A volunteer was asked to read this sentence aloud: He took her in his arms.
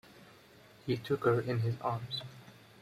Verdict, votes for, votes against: accepted, 2, 0